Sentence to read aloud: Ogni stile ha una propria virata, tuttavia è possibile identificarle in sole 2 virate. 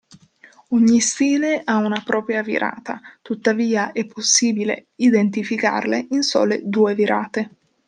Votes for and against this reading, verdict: 0, 2, rejected